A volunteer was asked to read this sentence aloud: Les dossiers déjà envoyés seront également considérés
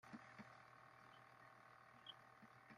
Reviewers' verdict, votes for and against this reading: rejected, 0, 2